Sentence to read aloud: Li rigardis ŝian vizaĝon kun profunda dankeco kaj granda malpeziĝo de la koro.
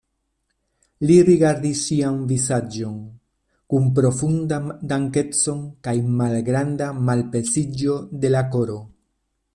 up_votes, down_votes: 2, 1